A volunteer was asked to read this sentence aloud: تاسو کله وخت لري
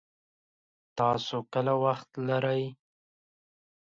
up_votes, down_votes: 2, 0